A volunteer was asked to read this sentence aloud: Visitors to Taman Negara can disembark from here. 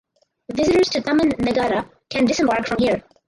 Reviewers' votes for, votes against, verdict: 0, 2, rejected